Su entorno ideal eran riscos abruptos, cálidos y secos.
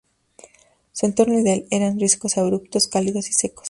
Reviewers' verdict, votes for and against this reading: accepted, 2, 0